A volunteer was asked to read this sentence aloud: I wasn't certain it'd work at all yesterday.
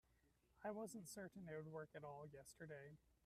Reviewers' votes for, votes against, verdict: 0, 2, rejected